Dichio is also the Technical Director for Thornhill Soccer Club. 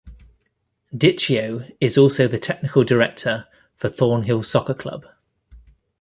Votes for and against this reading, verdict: 2, 0, accepted